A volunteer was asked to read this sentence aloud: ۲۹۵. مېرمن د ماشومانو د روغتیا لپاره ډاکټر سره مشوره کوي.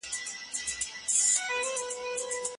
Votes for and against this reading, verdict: 0, 2, rejected